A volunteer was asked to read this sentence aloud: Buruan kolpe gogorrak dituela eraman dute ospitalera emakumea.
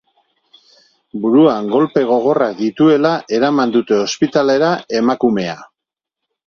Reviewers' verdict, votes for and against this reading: accepted, 2, 0